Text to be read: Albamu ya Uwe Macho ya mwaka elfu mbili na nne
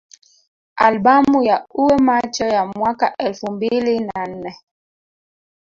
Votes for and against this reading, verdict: 2, 1, accepted